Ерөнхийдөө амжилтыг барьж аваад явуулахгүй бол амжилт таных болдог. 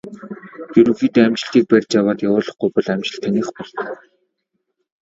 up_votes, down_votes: 2, 0